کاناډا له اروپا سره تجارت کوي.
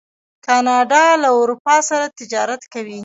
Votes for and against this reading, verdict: 0, 2, rejected